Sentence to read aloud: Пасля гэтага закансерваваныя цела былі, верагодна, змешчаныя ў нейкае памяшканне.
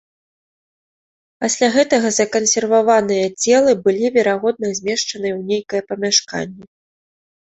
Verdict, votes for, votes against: accepted, 2, 0